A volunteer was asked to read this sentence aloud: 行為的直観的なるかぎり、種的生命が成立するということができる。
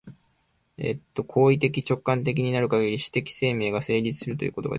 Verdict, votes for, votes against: rejected, 0, 2